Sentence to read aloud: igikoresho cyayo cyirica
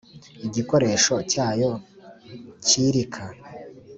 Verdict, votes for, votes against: accepted, 2, 1